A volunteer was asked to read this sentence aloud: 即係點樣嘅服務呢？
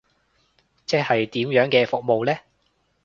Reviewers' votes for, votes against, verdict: 2, 0, accepted